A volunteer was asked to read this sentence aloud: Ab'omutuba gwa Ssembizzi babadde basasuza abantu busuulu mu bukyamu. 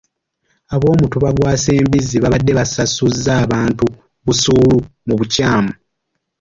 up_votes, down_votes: 2, 1